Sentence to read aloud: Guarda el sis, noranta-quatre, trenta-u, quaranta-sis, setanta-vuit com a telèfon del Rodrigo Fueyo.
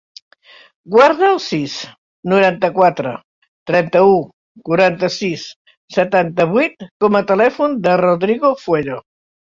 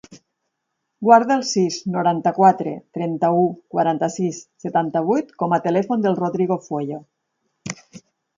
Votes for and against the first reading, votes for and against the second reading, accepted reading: 1, 2, 4, 0, second